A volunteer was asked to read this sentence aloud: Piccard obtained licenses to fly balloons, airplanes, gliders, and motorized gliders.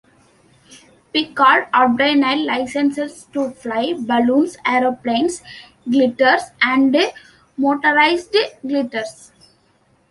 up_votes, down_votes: 0, 2